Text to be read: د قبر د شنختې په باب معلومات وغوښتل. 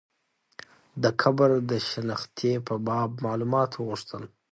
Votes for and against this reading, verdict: 2, 0, accepted